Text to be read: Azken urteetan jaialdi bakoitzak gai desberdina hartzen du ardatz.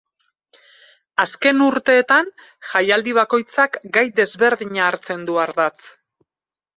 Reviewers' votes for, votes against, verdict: 2, 2, rejected